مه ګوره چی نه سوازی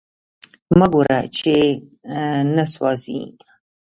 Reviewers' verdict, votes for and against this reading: rejected, 0, 2